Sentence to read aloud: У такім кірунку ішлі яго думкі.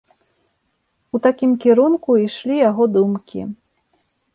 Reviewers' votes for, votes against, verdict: 2, 0, accepted